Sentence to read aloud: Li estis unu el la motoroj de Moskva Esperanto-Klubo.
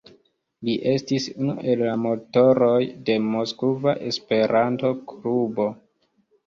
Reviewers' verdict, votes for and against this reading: rejected, 0, 2